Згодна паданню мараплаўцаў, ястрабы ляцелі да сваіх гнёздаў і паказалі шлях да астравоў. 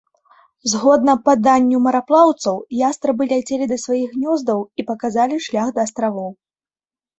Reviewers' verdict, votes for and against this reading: accepted, 2, 0